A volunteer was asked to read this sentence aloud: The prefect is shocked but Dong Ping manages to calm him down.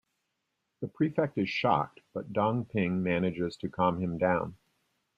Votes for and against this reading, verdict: 2, 0, accepted